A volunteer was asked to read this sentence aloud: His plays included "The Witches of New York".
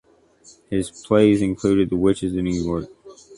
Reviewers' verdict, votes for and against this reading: accepted, 2, 0